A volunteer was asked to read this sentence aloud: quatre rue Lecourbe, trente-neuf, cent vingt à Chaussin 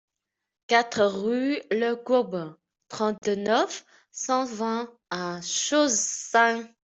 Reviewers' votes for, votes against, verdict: 2, 1, accepted